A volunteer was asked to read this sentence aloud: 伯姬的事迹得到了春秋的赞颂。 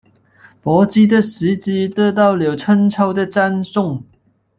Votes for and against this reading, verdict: 0, 2, rejected